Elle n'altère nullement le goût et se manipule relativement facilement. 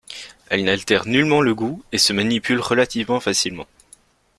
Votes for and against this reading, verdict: 2, 0, accepted